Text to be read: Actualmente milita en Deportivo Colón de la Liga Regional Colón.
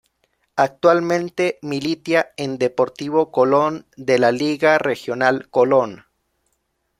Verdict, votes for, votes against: rejected, 0, 2